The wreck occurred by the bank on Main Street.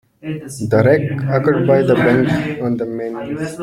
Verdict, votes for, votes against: rejected, 0, 2